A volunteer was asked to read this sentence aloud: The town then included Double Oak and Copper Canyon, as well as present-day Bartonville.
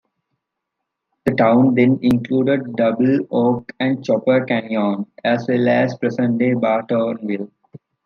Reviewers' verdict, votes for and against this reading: rejected, 0, 2